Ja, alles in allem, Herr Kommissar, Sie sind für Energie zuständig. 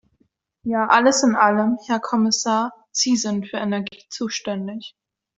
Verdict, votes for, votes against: accepted, 3, 0